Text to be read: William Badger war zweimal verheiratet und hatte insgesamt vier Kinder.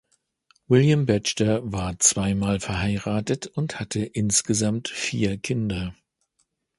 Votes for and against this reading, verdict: 1, 2, rejected